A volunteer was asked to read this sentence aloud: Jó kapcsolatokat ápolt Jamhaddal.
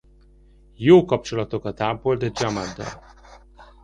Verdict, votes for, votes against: rejected, 0, 2